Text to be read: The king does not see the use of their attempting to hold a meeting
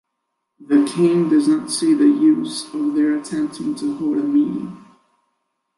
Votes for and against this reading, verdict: 2, 1, accepted